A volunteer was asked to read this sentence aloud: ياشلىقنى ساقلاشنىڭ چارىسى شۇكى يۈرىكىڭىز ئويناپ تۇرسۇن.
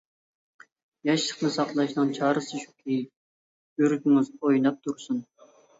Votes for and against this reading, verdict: 2, 0, accepted